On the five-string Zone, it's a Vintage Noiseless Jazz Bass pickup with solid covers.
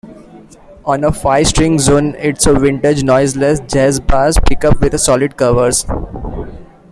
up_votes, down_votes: 2, 1